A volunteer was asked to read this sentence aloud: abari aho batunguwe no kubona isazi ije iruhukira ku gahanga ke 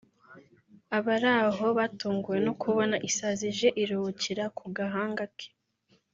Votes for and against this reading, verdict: 0, 2, rejected